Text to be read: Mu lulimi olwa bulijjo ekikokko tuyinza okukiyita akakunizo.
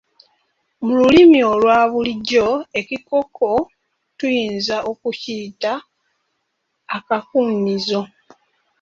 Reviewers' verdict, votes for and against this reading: rejected, 0, 2